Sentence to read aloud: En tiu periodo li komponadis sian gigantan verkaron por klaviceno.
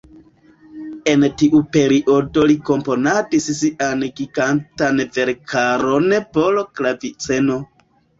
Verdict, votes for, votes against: accepted, 2, 1